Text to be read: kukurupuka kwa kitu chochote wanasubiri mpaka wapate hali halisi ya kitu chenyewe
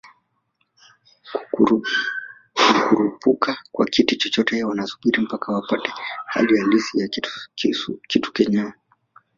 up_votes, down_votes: 1, 2